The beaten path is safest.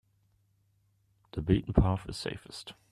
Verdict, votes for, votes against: accepted, 2, 0